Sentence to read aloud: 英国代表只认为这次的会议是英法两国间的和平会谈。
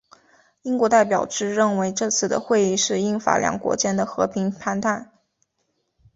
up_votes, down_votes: 0, 2